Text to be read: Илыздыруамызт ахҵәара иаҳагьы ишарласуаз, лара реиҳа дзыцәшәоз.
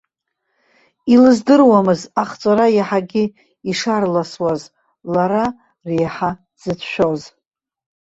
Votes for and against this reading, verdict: 1, 2, rejected